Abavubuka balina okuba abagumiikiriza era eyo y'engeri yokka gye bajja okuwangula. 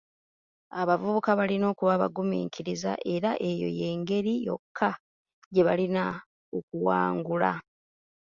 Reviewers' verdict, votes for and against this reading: rejected, 0, 2